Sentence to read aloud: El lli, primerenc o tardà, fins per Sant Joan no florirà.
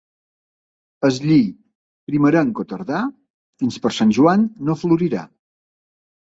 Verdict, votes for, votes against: rejected, 1, 2